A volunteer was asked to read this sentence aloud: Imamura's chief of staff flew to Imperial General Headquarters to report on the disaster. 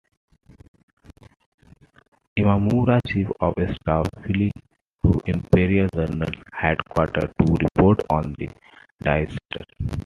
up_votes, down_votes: 2, 1